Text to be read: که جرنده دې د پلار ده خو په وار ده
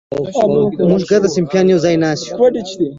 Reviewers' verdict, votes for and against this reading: rejected, 0, 2